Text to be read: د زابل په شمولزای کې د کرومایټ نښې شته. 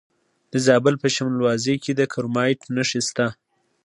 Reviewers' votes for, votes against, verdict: 2, 0, accepted